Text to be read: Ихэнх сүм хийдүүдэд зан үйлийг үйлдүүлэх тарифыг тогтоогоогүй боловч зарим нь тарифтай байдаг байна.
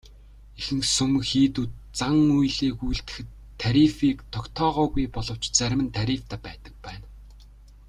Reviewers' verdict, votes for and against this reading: rejected, 0, 2